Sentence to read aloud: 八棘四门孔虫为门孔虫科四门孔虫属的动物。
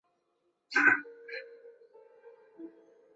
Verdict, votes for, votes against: rejected, 0, 2